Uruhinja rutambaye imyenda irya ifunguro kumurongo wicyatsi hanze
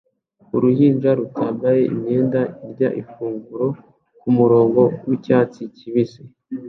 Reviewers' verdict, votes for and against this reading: rejected, 0, 2